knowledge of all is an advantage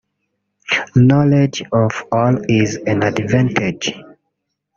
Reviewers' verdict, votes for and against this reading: rejected, 0, 2